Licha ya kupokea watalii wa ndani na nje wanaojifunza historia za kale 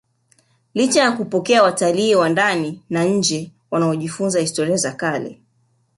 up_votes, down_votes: 0, 2